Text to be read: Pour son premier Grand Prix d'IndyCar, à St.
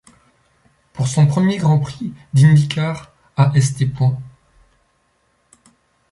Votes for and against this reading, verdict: 0, 2, rejected